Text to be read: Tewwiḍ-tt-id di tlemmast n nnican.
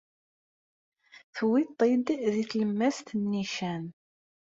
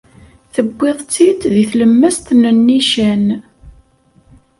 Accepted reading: second